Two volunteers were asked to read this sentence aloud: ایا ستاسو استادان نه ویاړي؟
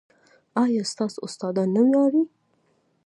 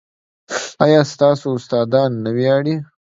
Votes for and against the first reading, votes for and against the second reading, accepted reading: 0, 2, 2, 1, second